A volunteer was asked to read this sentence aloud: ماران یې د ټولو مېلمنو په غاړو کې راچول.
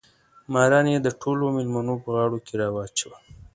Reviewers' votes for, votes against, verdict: 2, 0, accepted